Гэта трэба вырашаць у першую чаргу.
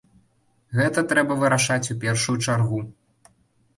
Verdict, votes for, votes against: accepted, 2, 0